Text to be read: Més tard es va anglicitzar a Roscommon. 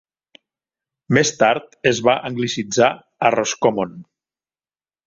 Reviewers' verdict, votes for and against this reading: accepted, 3, 0